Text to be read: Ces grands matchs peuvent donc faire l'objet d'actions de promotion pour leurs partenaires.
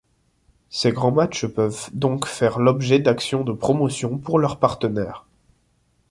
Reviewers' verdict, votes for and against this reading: accepted, 2, 0